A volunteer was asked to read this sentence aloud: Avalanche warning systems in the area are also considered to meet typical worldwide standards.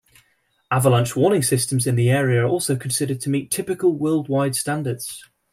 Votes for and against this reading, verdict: 2, 0, accepted